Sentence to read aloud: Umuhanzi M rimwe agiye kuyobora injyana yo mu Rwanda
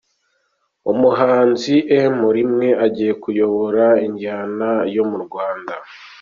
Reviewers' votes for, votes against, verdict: 2, 0, accepted